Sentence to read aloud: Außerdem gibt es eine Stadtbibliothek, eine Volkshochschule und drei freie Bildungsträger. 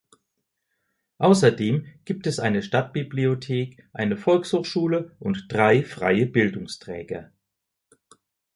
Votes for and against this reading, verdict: 2, 0, accepted